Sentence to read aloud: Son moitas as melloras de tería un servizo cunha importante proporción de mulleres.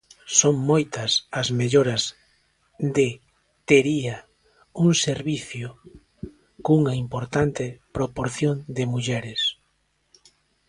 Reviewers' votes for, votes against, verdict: 0, 2, rejected